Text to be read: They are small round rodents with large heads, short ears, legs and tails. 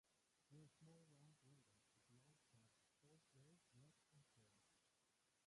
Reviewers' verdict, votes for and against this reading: rejected, 0, 3